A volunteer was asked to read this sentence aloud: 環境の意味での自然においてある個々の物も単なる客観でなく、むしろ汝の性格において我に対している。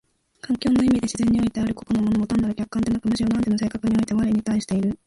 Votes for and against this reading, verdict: 1, 2, rejected